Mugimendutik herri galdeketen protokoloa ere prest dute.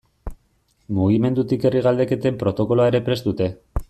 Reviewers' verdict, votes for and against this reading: accepted, 2, 0